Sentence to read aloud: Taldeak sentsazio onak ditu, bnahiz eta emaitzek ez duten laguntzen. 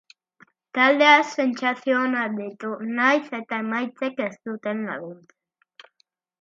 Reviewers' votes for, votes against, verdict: 1, 2, rejected